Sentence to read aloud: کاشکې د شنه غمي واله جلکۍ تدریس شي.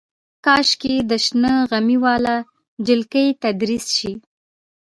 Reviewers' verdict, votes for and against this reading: rejected, 0, 2